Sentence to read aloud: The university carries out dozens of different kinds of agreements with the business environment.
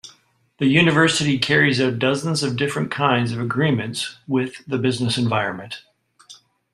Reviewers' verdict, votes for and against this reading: accepted, 2, 0